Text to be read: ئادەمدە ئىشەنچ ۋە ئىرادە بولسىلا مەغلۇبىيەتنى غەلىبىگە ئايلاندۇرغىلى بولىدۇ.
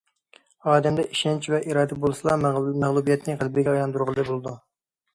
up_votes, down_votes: 0, 2